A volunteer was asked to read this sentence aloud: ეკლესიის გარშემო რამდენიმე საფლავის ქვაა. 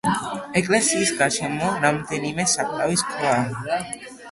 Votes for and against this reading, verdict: 2, 0, accepted